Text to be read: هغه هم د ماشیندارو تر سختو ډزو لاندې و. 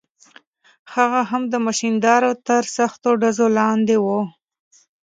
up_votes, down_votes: 2, 0